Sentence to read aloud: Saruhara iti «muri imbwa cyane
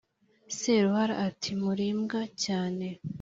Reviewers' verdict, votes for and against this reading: accepted, 3, 2